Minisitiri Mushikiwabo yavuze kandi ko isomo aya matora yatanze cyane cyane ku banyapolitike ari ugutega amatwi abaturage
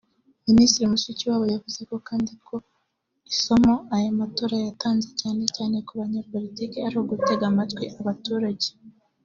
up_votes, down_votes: 1, 2